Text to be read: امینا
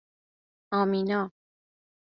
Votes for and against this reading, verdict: 2, 0, accepted